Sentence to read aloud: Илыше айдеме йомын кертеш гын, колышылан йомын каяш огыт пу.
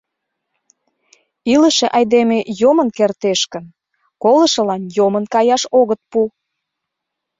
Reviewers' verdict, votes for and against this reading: accepted, 2, 0